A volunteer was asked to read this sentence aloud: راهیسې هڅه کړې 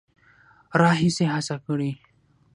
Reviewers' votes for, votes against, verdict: 6, 0, accepted